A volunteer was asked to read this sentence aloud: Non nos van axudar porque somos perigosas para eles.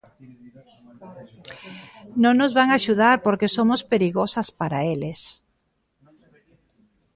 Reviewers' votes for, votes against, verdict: 2, 1, accepted